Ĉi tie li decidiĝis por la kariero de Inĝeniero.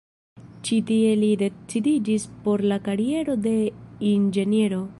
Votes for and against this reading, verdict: 2, 0, accepted